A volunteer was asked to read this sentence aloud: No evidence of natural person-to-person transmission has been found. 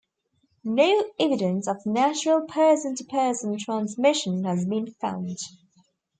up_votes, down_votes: 2, 0